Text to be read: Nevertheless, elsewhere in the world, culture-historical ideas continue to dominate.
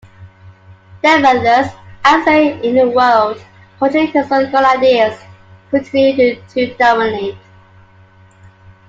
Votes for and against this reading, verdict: 0, 2, rejected